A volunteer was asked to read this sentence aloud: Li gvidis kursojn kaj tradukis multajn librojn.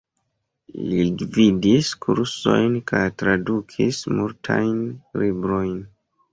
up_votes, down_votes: 1, 2